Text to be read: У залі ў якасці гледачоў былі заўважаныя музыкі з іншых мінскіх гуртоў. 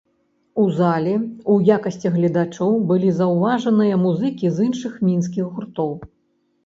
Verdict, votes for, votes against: accepted, 3, 0